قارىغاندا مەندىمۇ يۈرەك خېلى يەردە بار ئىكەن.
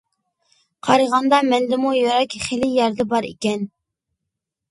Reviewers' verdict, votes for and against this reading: accepted, 2, 0